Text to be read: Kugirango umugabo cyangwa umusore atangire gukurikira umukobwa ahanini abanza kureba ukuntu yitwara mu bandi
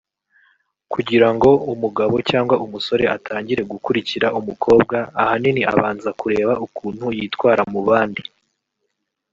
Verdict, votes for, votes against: accepted, 2, 0